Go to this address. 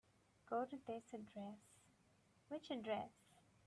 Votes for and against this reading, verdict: 1, 3, rejected